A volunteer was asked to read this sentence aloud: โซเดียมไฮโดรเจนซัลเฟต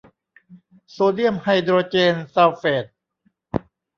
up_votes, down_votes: 0, 2